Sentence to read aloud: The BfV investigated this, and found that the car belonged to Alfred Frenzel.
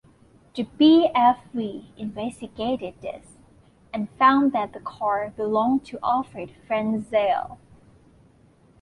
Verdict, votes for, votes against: accepted, 2, 0